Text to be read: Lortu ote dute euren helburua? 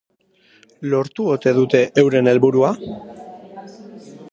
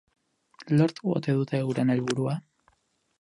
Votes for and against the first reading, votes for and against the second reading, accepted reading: 2, 0, 2, 2, first